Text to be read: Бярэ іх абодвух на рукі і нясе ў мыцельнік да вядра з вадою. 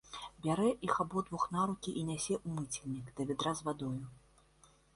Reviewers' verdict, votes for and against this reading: rejected, 1, 2